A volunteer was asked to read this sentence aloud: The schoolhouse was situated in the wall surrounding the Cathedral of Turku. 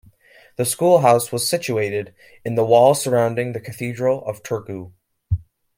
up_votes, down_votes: 2, 0